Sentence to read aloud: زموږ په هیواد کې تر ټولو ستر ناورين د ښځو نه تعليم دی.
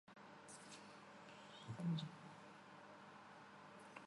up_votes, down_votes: 0, 2